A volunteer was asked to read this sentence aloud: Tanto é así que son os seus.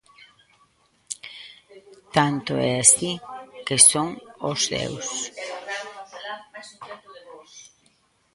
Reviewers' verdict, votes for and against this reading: rejected, 0, 2